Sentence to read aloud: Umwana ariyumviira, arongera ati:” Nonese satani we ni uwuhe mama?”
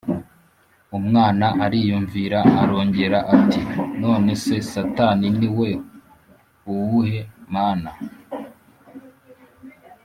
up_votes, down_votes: 2, 3